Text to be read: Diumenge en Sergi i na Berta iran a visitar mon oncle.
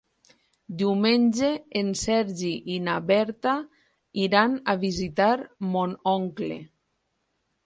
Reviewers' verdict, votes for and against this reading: accepted, 4, 0